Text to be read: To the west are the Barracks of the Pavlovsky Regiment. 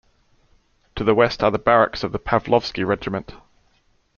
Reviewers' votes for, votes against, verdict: 2, 0, accepted